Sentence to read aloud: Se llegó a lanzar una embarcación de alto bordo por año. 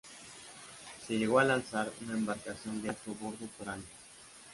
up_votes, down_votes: 1, 2